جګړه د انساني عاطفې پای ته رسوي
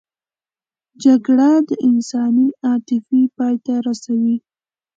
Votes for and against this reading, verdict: 2, 0, accepted